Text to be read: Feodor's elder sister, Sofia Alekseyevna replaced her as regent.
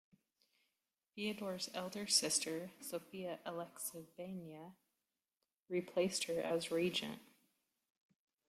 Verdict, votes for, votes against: rejected, 1, 2